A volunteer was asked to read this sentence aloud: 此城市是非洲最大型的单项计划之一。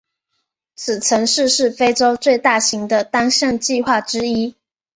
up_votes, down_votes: 6, 0